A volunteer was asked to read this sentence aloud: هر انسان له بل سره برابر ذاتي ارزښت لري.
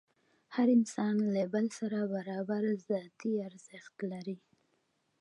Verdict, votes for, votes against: accepted, 2, 0